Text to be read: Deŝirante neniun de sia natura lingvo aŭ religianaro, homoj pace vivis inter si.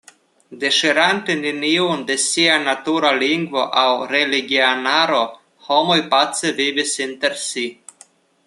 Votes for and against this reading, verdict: 2, 0, accepted